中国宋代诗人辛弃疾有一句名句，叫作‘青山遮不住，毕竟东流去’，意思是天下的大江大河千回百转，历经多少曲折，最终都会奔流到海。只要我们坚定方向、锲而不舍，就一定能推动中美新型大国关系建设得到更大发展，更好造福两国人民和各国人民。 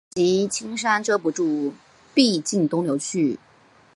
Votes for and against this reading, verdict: 0, 3, rejected